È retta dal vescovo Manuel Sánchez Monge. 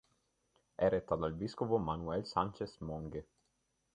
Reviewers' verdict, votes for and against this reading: rejected, 1, 2